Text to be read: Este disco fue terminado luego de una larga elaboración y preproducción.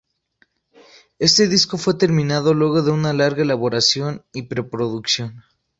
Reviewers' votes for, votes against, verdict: 2, 0, accepted